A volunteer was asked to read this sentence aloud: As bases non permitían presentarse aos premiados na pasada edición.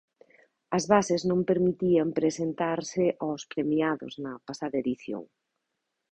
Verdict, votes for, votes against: accepted, 2, 0